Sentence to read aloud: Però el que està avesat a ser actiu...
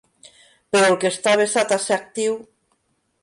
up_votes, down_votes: 2, 1